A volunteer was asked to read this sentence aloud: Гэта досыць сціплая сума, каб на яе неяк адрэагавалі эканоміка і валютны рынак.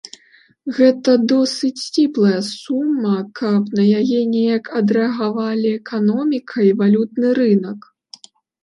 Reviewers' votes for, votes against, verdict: 4, 0, accepted